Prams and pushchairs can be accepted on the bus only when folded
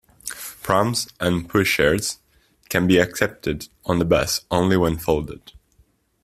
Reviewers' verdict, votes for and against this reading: accepted, 2, 0